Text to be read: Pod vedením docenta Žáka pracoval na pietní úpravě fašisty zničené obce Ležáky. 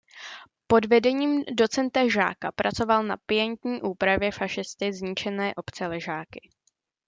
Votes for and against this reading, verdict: 1, 2, rejected